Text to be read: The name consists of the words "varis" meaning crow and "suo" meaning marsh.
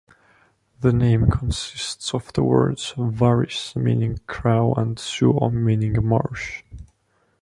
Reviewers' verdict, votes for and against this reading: rejected, 1, 2